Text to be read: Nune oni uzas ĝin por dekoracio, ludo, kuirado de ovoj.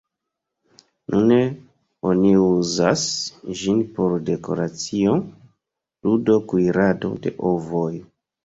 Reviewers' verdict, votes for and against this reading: rejected, 1, 2